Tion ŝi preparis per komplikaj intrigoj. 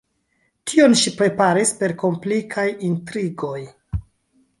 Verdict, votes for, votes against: accepted, 2, 0